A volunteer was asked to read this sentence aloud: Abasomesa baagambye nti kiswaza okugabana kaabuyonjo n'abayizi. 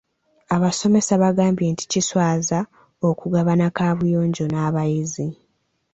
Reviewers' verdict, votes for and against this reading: accepted, 2, 0